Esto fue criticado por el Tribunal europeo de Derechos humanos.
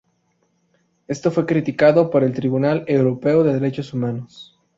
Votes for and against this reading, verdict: 2, 0, accepted